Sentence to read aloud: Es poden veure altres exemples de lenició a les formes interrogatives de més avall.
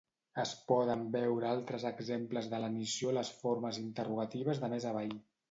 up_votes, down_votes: 2, 0